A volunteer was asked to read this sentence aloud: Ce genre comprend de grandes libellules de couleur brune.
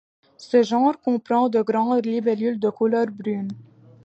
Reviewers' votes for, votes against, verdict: 2, 0, accepted